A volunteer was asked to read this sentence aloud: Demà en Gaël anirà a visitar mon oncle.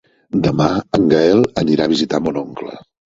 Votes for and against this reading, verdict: 3, 0, accepted